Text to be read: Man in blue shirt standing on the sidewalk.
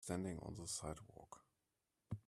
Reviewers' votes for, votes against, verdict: 0, 2, rejected